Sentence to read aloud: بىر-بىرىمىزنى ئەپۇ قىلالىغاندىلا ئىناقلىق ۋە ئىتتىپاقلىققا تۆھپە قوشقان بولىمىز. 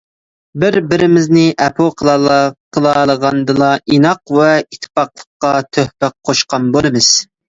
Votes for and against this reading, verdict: 0, 2, rejected